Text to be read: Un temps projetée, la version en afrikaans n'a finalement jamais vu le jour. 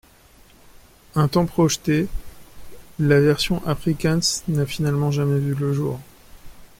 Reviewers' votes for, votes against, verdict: 0, 2, rejected